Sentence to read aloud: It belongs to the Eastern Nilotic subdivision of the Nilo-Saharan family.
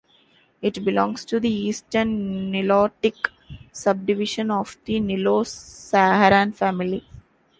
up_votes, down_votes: 2, 0